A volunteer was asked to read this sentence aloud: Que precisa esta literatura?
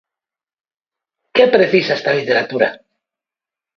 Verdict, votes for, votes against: accepted, 2, 0